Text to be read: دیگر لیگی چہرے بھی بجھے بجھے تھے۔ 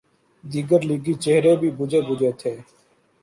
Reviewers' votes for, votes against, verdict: 1, 2, rejected